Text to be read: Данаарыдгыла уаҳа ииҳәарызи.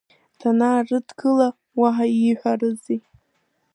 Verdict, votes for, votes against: accepted, 3, 1